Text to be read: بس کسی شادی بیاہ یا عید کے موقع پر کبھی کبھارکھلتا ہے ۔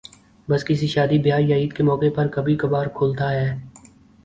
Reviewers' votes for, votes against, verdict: 2, 0, accepted